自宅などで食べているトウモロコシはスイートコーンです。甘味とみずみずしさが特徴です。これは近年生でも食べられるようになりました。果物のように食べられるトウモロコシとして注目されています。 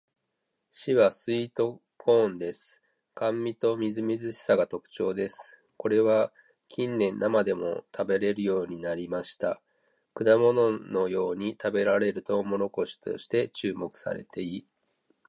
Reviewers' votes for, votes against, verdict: 0, 2, rejected